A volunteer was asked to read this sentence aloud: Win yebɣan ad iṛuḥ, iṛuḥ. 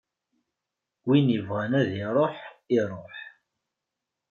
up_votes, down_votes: 2, 0